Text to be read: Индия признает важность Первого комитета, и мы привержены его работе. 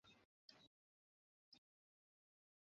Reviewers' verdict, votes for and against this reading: rejected, 0, 2